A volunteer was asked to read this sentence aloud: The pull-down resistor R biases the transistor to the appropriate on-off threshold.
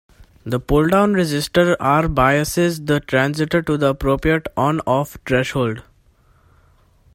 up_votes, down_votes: 0, 2